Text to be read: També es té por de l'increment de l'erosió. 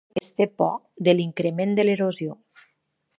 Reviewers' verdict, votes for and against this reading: rejected, 0, 4